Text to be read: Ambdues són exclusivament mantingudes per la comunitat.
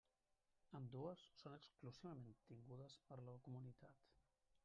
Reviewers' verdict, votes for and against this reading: rejected, 1, 2